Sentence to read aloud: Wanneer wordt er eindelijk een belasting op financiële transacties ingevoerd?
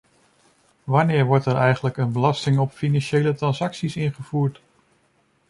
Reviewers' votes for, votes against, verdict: 0, 2, rejected